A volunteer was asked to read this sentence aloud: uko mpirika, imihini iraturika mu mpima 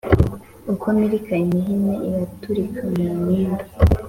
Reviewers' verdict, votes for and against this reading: accepted, 2, 0